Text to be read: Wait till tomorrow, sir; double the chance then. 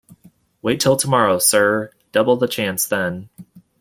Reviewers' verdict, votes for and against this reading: accepted, 2, 0